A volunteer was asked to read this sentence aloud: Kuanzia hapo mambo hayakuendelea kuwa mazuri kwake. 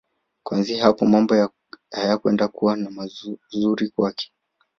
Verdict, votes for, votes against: rejected, 0, 2